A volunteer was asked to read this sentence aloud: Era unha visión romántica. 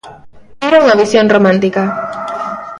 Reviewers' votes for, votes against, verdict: 1, 2, rejected